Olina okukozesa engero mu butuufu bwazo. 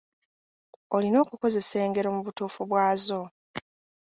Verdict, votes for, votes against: accepted, 2, 1